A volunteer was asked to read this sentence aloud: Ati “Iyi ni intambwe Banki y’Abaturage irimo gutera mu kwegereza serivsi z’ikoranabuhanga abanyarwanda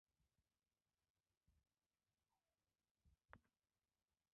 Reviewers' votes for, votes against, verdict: 0, 2, rejected